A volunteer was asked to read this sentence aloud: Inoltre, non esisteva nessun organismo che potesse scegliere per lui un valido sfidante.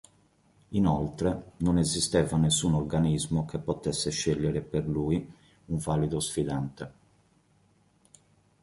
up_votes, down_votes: 2, 0